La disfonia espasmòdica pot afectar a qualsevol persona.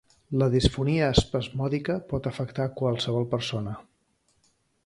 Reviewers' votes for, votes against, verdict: 2, 0, accepted